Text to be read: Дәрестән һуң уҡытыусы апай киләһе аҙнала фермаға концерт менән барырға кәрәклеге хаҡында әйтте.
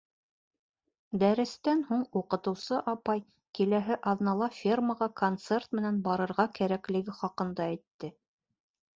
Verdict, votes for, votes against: accepted, 2, 0